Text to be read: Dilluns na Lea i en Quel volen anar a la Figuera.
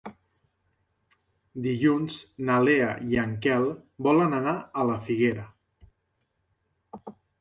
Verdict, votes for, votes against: accepted, 4, 0